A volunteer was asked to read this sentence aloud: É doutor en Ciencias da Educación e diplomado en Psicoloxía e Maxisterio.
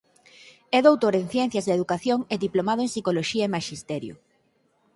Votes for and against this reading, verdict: 6, 0, accepted